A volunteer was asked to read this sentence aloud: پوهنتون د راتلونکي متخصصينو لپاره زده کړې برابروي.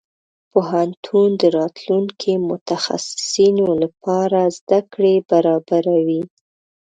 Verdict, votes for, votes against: accepted, 2, 0